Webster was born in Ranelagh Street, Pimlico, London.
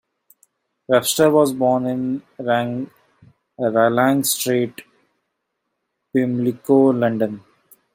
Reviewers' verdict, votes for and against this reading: rejected, 1, 3